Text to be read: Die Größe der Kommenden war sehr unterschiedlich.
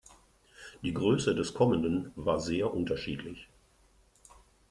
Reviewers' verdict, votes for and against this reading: rejected, 0, 2